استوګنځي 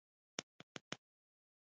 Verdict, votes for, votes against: rejected, 1, 2